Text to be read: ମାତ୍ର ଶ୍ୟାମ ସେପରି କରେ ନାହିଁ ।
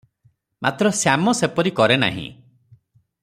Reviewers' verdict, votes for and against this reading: accepted, 3, 0